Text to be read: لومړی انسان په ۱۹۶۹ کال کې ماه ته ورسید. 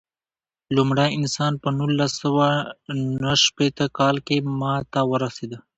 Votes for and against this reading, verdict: 0, 2, rejected